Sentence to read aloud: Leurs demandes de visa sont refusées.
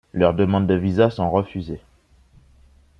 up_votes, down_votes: 2, 0